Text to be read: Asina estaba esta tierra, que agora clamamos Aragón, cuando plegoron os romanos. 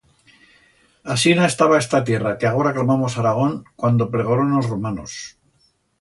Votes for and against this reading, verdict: 1, 2, rejected